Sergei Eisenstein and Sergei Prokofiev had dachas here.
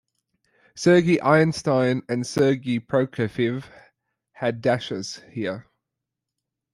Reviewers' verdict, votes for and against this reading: rejected, 0, 2